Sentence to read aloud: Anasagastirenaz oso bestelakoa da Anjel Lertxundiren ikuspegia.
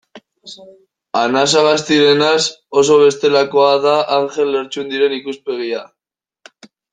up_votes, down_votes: 2, 1